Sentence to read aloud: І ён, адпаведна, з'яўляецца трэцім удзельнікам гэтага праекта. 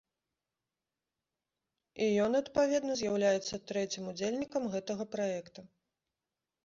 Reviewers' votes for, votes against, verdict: 2, 1, accepted